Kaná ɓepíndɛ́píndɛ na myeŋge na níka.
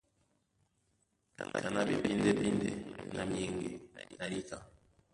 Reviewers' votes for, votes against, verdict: 0, 2, rejected